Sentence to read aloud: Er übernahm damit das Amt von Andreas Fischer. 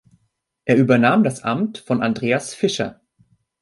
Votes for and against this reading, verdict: 0, 2, rejected